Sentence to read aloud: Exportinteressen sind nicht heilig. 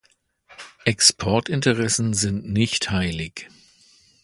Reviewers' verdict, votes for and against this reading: accepted, 2, 0